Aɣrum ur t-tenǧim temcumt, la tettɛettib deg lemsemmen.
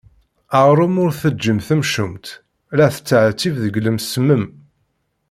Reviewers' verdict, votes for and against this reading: accepted, 2, 0